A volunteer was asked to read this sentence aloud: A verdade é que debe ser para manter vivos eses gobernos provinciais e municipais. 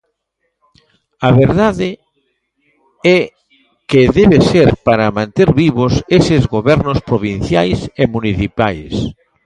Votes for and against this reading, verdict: 2, 1, accepted